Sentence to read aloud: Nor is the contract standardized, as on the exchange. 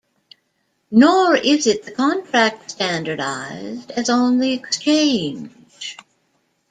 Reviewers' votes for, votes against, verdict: 1, 2, rejected